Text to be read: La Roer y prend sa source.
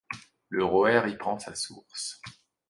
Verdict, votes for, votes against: rejected, 0, 2